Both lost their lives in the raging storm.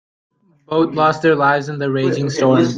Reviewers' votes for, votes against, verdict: 0, 2, rejected